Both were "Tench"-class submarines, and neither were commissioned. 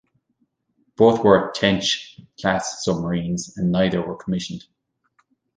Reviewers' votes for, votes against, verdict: 2, 1, accepted